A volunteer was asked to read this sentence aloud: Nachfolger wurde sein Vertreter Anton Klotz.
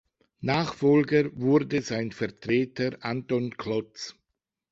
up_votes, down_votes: 2, 0